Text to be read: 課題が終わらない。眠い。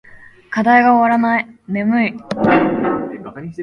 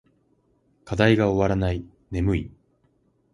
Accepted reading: second